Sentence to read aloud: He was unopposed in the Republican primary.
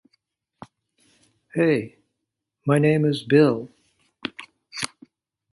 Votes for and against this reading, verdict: 0, 2, rejected